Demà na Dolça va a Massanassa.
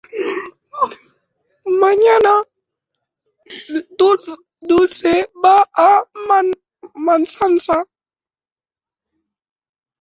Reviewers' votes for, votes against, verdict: 0, 3, rejected